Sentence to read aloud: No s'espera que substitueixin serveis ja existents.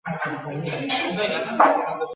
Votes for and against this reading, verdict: 1, 2, rejected